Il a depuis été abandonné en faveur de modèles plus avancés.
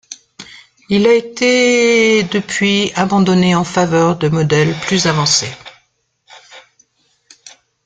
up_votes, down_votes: 0, 2